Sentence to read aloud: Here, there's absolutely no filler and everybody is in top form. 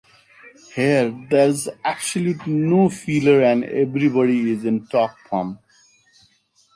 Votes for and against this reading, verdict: 1, 2, rejected